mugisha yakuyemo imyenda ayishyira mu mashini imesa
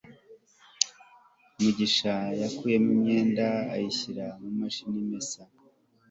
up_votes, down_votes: 2, 0